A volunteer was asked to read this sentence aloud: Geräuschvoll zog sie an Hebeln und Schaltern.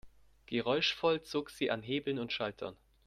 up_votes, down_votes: 2, 0